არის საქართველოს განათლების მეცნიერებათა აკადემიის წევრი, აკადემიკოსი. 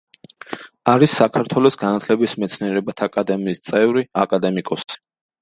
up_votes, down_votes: 2, 1